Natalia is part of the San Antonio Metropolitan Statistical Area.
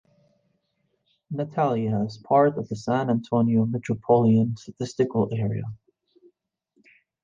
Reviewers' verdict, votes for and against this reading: accepted, 2, 0